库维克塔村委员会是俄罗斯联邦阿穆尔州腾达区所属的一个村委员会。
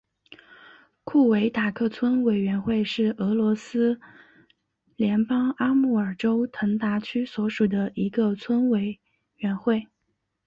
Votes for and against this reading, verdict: 2, 0, accepted